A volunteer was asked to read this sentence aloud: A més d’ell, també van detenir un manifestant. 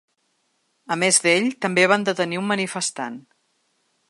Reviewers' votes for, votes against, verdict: 4, 0, accepted